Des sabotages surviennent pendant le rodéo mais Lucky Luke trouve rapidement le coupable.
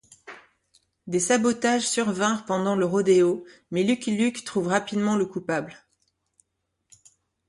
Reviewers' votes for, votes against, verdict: 1, 2, rejected